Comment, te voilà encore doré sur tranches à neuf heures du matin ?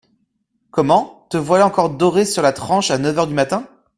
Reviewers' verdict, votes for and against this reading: rejected, 1, 2